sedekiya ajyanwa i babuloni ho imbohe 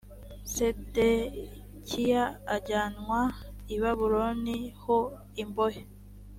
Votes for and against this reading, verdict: 3, 0, accepted